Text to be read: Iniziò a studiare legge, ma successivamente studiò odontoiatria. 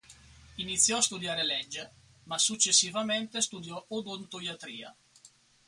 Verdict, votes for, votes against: accepted, 4, 0